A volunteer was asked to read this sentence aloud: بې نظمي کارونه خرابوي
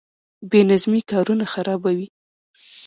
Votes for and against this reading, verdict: 2, 0, accepted